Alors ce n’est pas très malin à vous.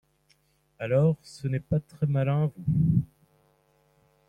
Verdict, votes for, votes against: rejected, 0, 2